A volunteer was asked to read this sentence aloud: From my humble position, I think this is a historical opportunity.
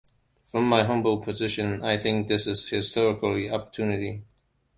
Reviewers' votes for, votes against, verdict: 2, 0, accepted